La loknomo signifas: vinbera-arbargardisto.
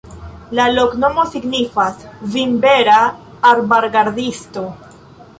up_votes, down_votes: 2, 0